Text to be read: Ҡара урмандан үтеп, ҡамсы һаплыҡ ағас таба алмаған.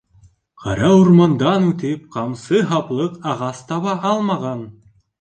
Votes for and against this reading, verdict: 2, 0, accepted